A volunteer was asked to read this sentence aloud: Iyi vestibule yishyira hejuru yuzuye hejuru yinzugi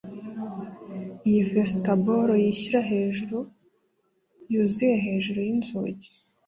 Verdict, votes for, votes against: accepted, 2, 0